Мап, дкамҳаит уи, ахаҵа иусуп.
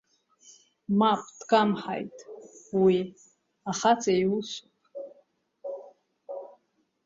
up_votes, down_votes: 0, 2